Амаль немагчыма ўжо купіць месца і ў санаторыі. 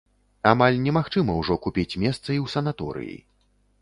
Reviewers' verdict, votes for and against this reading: accepted, 2, 0